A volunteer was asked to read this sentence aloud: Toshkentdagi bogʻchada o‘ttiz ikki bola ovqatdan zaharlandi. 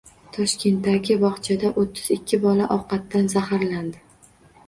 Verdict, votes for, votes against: accepted, 2, 0